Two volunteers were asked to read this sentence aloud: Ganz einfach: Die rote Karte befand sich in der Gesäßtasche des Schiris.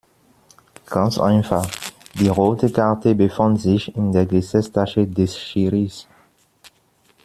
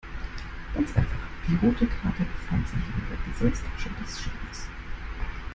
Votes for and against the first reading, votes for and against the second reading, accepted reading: 2, 0, 0, 2, first